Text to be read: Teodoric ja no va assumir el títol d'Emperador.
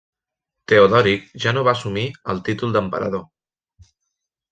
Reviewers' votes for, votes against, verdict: 1, 2, rejected